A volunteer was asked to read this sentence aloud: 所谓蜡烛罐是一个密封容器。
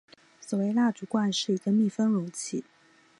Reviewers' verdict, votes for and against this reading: accepted, 2, 0